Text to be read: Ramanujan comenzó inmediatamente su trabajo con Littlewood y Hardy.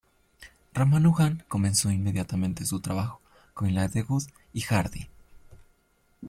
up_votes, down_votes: 0, 2